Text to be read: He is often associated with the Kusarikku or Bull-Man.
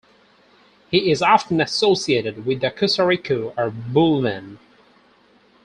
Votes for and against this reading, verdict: 2, 4, rejected